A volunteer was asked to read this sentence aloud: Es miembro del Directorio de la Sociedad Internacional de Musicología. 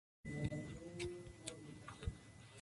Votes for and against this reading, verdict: 0, 2, rejected